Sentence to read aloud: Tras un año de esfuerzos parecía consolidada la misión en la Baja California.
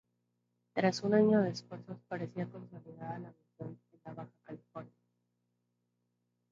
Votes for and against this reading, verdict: 0, 4, rejected